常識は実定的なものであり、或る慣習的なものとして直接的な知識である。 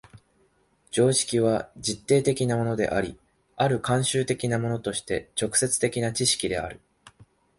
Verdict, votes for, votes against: accepted, 7, 2